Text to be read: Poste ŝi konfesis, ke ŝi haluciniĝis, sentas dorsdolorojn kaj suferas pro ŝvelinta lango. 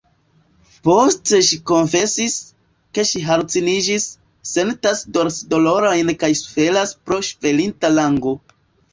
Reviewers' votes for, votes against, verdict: 1, 2, rejected